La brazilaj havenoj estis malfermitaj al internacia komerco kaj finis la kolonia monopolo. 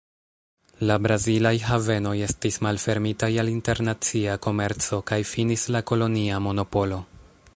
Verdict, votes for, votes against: rejected, 1, 2